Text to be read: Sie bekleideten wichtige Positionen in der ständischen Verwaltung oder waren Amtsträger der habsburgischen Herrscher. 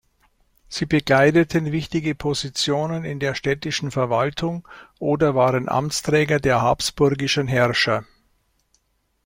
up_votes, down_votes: 0, 2